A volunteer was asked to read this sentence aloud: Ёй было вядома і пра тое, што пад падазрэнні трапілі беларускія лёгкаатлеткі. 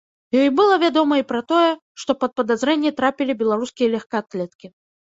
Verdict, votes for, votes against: rejected, 1, 2